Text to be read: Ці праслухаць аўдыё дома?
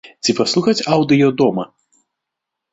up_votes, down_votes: 0, 2